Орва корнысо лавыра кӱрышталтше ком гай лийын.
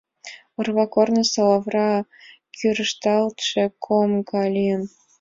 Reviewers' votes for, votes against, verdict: 2, 0, accepted